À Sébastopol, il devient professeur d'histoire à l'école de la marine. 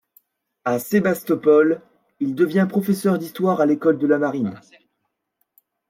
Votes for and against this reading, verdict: 2, 0, accepted